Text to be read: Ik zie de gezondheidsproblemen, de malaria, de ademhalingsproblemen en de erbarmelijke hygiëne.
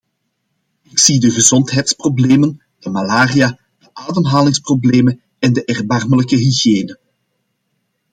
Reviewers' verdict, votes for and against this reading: accepted, 2, 0